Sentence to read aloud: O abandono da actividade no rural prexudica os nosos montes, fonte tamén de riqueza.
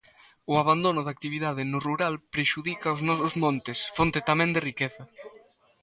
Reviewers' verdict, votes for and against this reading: accepted, 2, 0